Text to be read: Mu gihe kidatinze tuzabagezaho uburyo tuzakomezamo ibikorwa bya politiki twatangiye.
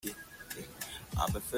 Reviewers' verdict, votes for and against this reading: rejected, 0, 2